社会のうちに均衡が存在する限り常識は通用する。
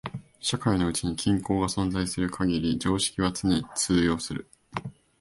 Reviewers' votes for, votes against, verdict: 1, 4, rejected